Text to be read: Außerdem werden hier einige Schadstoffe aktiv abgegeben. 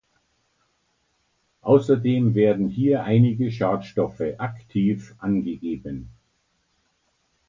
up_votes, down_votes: 0, 2